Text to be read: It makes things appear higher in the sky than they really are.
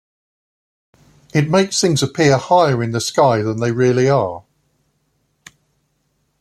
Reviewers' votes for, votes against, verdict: 1, 2, rejected